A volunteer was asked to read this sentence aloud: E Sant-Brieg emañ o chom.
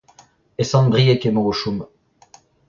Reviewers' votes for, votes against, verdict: 2, 0, accepted